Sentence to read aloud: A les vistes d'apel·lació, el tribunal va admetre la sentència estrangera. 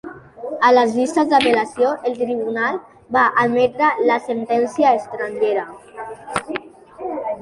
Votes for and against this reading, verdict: 2, 0, accepted